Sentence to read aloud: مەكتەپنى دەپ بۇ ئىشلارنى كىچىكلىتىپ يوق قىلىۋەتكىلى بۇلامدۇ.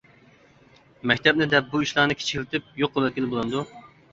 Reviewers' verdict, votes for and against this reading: accepted, 2, 1